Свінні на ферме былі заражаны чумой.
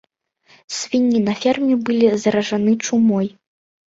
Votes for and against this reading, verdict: 2, 1, accepted